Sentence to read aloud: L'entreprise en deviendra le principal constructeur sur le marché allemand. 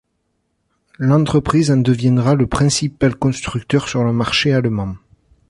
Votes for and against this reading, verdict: 2, 0, accepted